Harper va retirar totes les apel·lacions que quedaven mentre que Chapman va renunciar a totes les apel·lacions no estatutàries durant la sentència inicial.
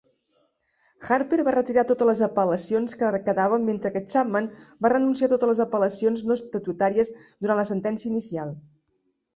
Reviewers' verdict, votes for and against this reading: accepted, 2, 0